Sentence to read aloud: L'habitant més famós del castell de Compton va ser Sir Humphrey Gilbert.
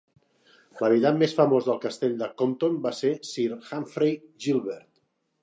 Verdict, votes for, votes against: accepted, 2, 0